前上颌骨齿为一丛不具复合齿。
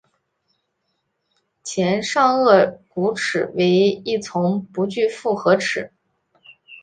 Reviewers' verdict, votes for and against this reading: rejected, 1, 2